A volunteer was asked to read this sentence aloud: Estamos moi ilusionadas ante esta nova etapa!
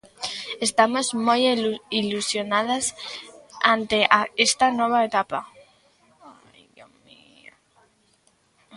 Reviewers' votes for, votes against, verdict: 1, 2, rejected